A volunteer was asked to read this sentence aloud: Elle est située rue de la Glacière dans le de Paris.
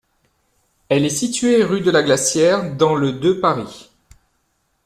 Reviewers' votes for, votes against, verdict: 1, 2, rejected